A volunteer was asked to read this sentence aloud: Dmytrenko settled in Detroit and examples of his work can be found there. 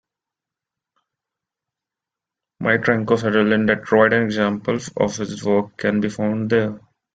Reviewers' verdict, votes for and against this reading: accepted, 2, 1